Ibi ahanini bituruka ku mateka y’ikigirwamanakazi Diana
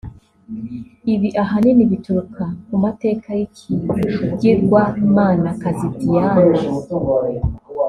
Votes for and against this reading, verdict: 1, 2, rejected